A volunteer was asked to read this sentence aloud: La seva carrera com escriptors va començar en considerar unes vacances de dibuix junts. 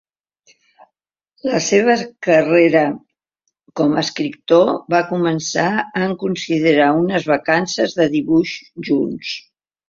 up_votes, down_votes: 1, 2